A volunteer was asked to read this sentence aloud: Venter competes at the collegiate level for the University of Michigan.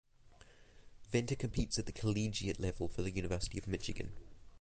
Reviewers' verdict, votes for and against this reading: accepted, 2, 0